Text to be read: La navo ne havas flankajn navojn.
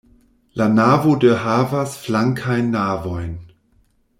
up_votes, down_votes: 0, 2